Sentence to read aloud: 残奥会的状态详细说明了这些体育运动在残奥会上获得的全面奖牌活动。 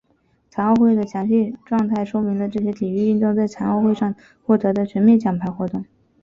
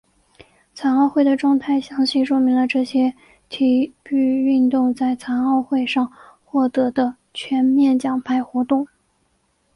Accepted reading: second